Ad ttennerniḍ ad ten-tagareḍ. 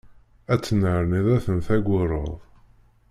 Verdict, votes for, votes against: rejected, 0, 2